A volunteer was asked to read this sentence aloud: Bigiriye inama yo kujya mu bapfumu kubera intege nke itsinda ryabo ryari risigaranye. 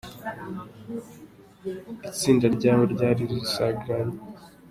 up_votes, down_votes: 0, 2